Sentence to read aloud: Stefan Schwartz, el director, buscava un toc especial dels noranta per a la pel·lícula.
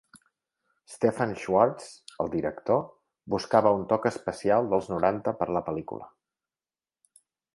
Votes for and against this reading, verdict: 1, 3, rejected